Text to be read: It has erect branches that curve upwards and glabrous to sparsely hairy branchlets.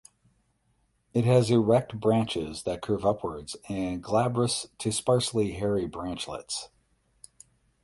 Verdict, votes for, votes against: rejected, 4, 8